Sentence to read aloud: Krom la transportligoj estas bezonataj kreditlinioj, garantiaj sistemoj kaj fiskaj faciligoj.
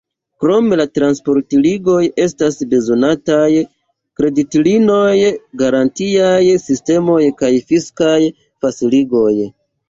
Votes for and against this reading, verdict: 2, 1, accepted